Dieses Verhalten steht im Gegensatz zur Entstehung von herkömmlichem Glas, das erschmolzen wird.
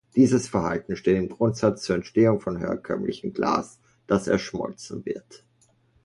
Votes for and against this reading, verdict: 0, 2, rejected